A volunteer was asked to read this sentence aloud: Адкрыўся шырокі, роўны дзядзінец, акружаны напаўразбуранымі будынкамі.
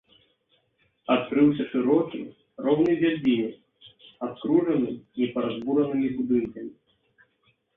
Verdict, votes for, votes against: rejected, 0, 2